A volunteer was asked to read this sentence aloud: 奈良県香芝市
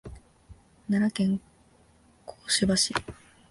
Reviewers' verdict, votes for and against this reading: rejected, 1, 2